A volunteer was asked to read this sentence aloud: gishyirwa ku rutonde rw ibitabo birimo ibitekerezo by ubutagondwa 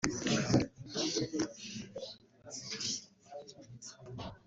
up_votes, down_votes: 0, 2